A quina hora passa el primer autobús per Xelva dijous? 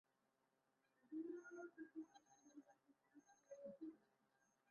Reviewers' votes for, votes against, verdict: 1, 2, rejected